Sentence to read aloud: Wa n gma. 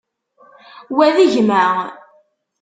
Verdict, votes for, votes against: rejected, 1, 2